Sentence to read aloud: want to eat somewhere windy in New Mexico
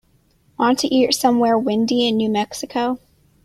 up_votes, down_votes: 2, 0